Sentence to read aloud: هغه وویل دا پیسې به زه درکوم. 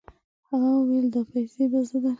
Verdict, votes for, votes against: rejected, 1, 2